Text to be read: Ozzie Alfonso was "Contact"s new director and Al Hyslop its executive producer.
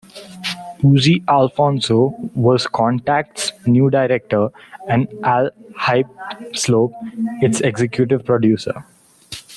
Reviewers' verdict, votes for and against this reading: rejected, 0, 2